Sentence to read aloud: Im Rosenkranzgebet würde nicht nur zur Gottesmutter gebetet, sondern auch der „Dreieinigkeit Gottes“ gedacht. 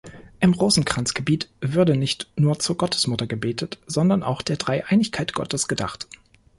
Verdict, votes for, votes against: accepted, 2, 0